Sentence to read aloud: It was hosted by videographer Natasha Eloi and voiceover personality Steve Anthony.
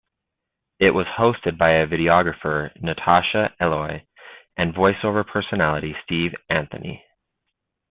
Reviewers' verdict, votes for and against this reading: rejected, 0, 2